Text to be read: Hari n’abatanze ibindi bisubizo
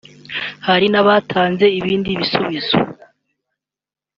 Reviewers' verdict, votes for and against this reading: accepted, 2, 1